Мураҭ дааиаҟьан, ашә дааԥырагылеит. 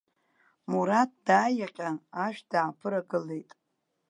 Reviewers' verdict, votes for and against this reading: accepted, 2, 0